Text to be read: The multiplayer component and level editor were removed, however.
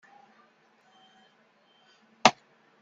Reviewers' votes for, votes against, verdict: 0, 2, rejected